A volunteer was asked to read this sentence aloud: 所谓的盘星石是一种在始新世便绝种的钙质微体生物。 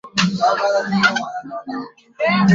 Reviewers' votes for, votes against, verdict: 0, 2, rejected